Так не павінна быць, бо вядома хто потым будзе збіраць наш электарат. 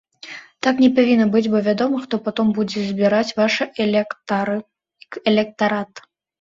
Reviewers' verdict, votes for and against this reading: rejected, 0, 3